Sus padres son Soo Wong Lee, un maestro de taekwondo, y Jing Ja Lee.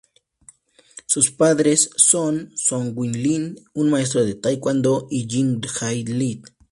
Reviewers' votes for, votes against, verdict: 2, 2, rejected